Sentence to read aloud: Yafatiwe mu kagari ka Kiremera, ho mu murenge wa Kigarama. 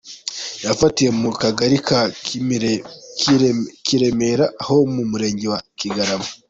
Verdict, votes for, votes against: rejected, 0, 2